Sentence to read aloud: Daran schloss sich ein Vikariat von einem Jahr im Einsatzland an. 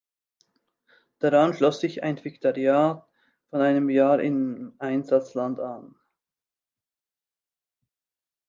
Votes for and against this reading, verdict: 0, 2, rejected